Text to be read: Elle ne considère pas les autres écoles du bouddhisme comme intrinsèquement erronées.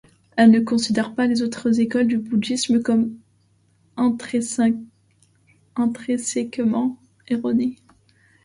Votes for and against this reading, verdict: 1, 2, rejected